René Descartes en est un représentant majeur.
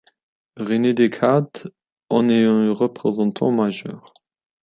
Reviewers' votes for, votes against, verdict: 2, 1, accepted